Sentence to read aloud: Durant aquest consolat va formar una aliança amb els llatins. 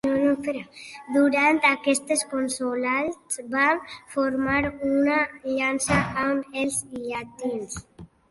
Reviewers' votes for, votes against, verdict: 0, 2, rejected